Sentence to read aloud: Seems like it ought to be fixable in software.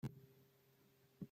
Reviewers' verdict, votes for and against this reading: rejected, 0, 2